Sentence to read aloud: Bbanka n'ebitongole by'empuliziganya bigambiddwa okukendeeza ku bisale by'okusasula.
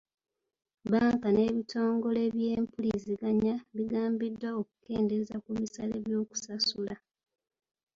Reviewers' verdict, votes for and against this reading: accepted, 2, 0